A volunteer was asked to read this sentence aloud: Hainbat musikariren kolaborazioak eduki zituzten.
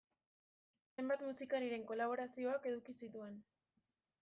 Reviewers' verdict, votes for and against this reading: rejected, 0, 2